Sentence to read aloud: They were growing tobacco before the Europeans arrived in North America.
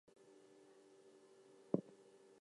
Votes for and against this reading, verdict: 0, 2, rejected